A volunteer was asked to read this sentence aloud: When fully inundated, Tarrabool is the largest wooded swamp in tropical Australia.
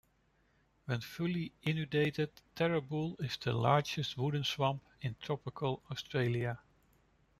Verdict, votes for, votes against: rejected, 1, 2